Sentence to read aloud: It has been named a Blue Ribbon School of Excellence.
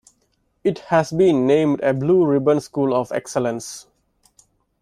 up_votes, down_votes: 2, 0